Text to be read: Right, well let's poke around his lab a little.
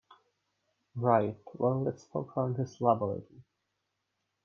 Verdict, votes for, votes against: rejected, 0, 2